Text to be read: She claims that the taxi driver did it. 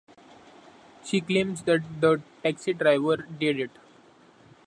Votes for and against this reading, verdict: 2, 0, accepted